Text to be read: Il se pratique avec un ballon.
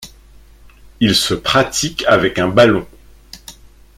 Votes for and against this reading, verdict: 2, 0, accepted